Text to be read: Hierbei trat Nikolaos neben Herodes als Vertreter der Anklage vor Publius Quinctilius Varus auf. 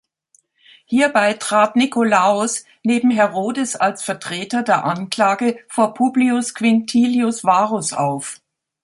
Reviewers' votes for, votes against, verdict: 2, 0, accepted